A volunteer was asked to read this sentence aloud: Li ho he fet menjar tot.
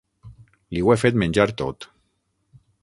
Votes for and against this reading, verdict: 3, 6, rejected